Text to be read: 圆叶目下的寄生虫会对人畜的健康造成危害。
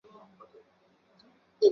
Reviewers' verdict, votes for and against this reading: rejected, 0, 3